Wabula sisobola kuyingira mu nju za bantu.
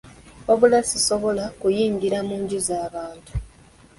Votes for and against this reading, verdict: 2, 0, accepted